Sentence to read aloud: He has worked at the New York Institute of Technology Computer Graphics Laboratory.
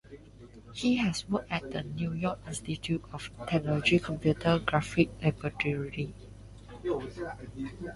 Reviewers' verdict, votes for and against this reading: rejected, 0, 2